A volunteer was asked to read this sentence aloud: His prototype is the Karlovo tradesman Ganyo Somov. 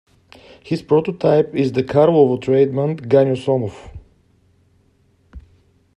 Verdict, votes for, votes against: accepted, 2, 1